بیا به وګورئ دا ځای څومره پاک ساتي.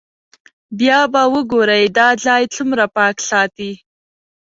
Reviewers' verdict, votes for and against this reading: accepted, 2, 0